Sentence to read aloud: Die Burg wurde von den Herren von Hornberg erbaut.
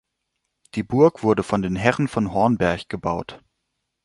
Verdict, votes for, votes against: rejected, 1, 3